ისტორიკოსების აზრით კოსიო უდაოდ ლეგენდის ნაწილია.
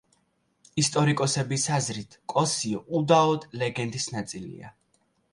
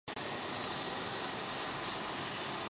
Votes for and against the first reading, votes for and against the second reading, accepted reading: 2, 0, 0, 2, first